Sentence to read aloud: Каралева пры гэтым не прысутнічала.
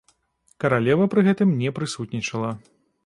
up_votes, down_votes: 2, 0